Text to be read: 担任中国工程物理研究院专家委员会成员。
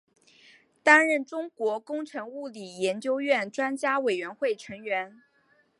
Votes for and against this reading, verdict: 0, 2, rejected